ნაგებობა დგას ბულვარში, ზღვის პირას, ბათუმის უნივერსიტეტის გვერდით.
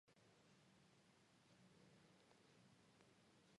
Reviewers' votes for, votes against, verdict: 1, 2, rejected